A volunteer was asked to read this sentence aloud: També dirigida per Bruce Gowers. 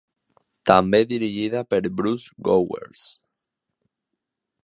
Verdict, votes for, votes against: accepted, 2, 0